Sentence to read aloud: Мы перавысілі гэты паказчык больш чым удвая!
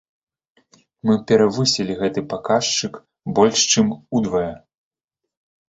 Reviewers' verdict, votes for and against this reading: rejected, 1, 2